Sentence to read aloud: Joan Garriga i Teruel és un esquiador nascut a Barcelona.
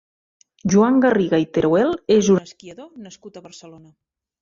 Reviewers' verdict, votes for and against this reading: rejected, 1, 2